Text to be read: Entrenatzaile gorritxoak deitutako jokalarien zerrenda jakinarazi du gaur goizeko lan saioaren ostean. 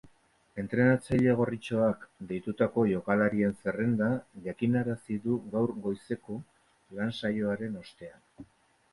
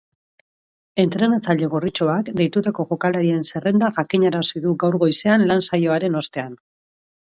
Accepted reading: first